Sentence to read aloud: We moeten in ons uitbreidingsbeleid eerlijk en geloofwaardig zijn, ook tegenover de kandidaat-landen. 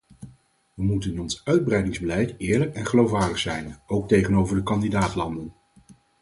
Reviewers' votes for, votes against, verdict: 4, 0, accepted